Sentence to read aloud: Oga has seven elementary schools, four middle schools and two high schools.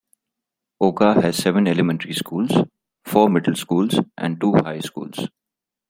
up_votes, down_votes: 2, 0